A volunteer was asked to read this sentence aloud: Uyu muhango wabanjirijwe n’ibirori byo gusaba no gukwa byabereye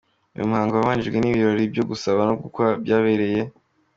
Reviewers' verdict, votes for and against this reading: accepted, 2, 0